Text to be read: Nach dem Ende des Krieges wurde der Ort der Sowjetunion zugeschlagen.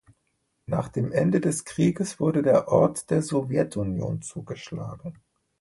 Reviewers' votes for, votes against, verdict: 2, 0, accepted